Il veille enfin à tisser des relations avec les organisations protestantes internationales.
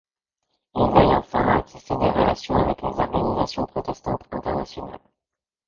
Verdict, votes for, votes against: rejected, 0, 2